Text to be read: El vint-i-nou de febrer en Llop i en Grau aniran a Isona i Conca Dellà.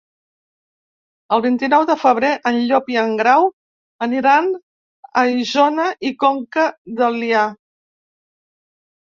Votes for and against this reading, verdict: 1, 2, rejected